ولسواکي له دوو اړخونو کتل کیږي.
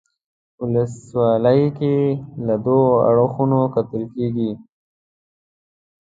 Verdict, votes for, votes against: rejected, 0, 2